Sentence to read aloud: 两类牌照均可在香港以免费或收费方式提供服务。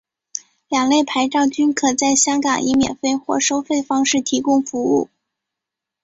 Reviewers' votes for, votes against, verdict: 7, 0, accepted